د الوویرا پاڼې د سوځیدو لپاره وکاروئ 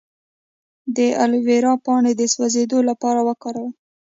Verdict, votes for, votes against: accepted, 2, 0